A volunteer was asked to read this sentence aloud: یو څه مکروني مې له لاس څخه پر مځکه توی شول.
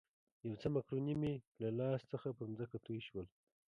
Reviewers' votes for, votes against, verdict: 0, 3, rejected